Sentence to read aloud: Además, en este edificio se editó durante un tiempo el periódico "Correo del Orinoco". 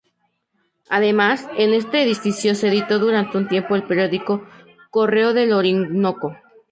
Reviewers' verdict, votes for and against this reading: rejected, 0, 2